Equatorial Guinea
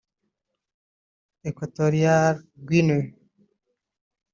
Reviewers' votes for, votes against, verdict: 1, 2, rejected